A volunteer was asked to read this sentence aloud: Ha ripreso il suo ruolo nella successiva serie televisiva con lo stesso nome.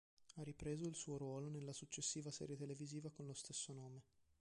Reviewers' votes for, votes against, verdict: 1, 2, rejected